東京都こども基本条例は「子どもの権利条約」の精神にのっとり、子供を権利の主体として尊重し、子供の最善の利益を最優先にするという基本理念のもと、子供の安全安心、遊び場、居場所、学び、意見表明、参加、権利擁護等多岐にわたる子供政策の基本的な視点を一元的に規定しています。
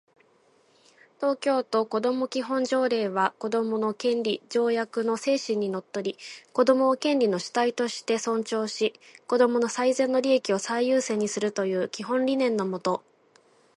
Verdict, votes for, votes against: rejected, 0, 3